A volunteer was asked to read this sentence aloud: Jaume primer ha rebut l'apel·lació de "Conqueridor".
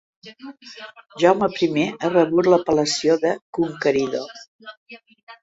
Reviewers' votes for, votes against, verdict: 2, 0, accepted